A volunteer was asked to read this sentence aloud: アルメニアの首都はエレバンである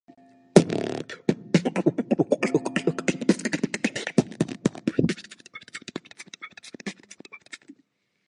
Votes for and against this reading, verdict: 1, 4, rejected